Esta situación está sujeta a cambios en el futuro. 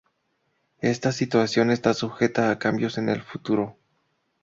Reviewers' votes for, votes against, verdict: 2, 0, accepted